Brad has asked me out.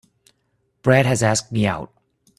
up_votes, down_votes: 3, 0